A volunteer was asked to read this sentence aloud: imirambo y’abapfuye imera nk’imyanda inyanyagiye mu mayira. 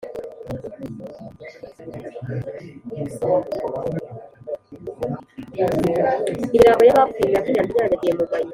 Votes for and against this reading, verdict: 2, 3, rejected